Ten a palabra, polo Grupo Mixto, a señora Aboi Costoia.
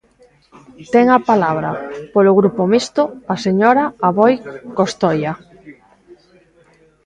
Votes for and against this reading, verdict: 2, 0, accepted